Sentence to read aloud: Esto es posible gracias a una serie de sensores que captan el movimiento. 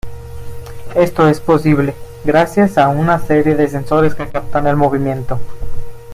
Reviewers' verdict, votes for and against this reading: accepted, 2, 0